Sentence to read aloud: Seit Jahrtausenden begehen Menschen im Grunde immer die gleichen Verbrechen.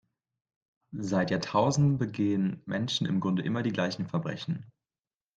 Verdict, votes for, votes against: accepted, 2, 1